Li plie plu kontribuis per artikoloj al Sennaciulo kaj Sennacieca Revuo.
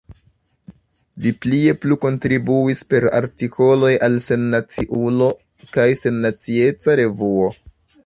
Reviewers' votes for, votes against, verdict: 0, 2, rejected